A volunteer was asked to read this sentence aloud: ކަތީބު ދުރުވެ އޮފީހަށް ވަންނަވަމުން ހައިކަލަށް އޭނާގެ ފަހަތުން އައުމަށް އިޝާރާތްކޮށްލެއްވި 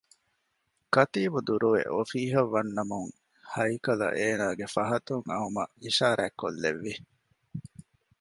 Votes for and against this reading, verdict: 1, 2, rejected